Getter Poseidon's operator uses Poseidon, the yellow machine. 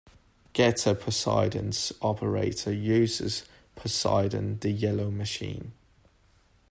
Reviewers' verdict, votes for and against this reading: accepted, 2, 0